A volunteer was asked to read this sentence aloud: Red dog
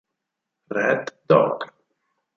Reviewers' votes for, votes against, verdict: 6, 2, accepted